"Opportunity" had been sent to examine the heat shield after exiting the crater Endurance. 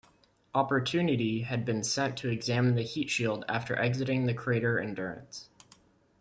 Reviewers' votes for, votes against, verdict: 2, 0, accepted